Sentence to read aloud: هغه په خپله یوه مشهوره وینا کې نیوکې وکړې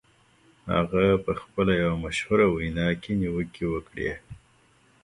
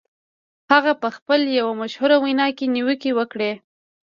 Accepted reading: first